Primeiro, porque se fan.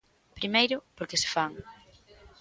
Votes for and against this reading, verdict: 2, 0, accepted